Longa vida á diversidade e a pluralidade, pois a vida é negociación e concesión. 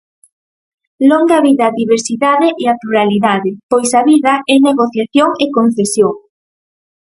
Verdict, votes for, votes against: accepted, 4, 0